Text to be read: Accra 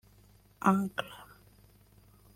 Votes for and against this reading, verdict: 0, 2, rejected